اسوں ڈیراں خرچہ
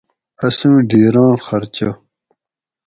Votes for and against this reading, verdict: 4, 0, accepted